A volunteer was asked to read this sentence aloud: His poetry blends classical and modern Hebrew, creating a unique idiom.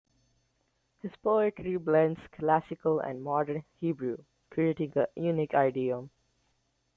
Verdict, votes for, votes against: rejected, 0, 2